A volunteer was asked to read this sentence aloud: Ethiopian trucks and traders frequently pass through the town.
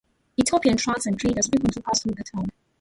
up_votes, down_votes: 0, 2